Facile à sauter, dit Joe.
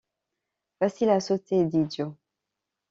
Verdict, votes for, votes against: accepted, 2, 0